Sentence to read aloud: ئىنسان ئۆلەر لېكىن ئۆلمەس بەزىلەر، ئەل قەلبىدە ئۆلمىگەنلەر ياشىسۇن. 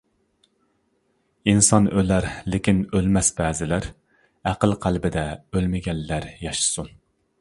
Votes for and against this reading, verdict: 0, 2, rejected